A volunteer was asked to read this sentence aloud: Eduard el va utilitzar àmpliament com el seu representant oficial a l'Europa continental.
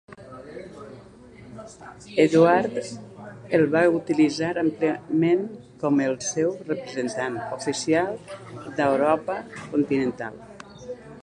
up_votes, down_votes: 0, 2